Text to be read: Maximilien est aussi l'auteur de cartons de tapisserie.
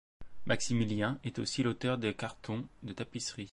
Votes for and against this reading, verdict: 2, 1, accepted